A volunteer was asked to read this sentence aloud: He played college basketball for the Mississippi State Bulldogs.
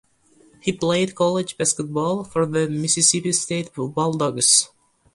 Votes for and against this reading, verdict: 2, 0, accepted